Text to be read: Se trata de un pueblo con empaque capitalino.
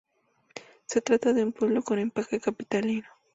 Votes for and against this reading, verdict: 4, 0, accepted